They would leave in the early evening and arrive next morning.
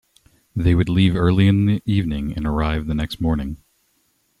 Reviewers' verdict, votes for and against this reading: rejected, 0, 2